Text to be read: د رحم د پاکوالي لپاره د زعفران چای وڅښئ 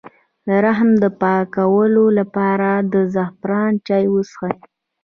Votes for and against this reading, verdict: 2, 0, accepted